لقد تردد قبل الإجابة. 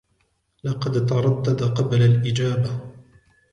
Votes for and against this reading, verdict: 2, 0, accepted